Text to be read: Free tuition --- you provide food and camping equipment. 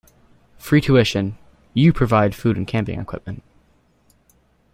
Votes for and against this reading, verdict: 2, 0, accepted